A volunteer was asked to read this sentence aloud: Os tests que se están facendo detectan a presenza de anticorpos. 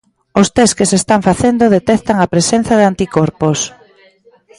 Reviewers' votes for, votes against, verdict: 2, 1, accepted